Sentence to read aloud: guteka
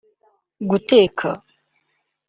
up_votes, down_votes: 2, 0